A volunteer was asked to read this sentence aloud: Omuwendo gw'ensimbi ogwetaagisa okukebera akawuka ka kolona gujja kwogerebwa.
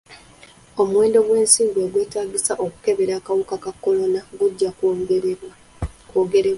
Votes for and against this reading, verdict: 2, 1, accepted